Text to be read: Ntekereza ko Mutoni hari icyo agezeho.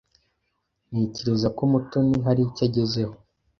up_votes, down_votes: 2, 0